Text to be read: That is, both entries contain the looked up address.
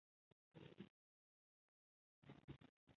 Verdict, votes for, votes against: rejected, 0, 3